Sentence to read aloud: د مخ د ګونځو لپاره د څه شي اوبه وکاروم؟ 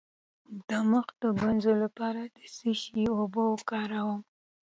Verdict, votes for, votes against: accepted, 2, 0